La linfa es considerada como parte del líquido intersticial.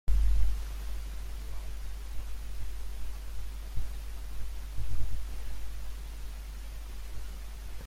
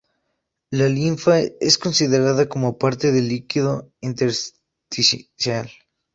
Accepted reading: second